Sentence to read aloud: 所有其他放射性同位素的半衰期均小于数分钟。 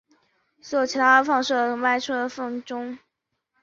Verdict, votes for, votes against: rejected, 0, 2